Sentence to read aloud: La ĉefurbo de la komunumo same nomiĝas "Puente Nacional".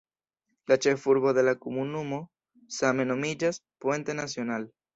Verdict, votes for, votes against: rejected, 0, 2